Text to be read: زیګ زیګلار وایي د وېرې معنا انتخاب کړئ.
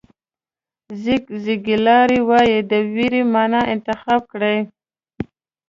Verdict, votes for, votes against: accepted, 2, 0